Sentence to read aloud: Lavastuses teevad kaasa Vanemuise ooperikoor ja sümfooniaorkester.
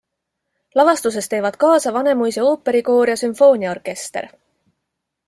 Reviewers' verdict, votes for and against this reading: accepted, 2, 0